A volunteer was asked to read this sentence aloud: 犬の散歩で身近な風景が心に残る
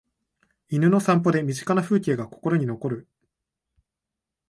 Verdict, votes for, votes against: accepted, 2, 0